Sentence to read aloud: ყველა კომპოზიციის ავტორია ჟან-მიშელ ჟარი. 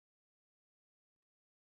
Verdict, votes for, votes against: rejected, 0, 2